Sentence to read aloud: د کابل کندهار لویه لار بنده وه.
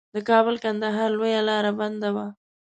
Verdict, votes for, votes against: rejected, 0, 2